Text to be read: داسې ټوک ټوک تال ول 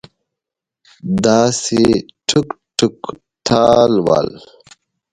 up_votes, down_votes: 1, 2